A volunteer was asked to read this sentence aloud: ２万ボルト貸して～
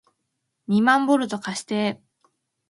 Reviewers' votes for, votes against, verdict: 0, 2, rejected